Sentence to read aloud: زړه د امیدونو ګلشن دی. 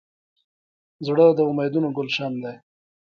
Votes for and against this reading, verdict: 2, 0, accepted